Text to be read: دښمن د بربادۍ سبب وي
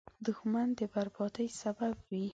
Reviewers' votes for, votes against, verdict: 2, 0, accepted